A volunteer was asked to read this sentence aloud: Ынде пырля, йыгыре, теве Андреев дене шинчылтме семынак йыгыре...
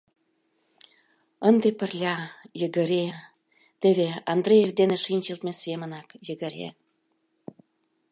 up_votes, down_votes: 2, 0